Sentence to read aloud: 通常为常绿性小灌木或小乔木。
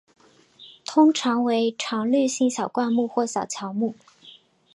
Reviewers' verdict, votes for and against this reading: accepted, 2, 0